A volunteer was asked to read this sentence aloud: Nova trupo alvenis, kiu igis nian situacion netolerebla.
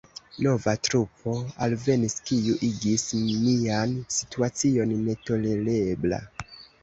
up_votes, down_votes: 2, 1